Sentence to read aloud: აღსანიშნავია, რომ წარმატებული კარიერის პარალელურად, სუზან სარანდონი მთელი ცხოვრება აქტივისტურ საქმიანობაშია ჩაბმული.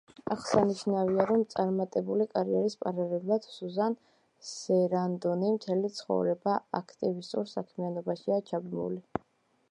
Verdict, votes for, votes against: rejected, 1, 2